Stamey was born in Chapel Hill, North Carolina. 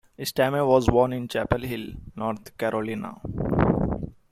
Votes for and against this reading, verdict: 2, 1, accepted